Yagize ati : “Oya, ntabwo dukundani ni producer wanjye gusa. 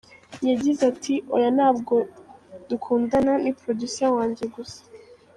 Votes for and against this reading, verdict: 0, 2, rejected